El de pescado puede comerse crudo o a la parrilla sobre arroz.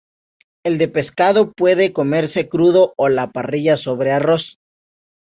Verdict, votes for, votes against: accepted, 2, 0